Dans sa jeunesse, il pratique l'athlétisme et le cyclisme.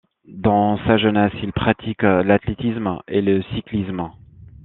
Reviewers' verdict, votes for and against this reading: accepted, 2, 0